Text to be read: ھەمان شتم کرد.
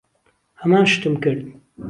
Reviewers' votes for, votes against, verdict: 2, 0, accepted